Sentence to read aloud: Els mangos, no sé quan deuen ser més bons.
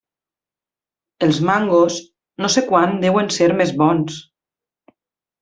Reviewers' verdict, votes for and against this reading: accepted, 3, 0